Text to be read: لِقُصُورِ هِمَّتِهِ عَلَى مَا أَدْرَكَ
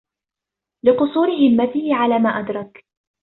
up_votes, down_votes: 1, 2